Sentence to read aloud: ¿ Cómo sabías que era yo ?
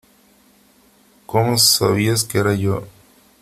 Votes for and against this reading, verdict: 3, 0, accepted